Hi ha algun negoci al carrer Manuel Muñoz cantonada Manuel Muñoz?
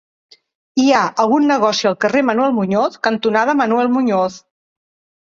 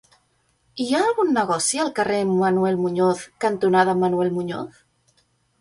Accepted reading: second